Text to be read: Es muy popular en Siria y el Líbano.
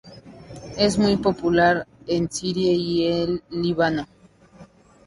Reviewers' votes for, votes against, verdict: 2, 0, accepted